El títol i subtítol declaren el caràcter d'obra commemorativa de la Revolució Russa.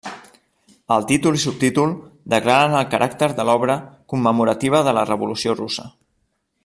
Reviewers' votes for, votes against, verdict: 0, 2, rejected